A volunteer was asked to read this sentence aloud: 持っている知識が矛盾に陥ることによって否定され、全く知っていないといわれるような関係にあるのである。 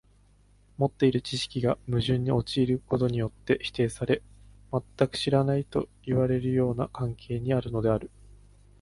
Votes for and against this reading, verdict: 1, 2, rejected